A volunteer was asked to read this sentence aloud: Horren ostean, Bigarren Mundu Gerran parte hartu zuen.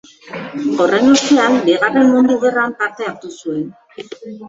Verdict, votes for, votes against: rejected, 0, 2